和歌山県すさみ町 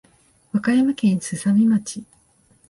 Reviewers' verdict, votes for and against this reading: accepted, 3, 0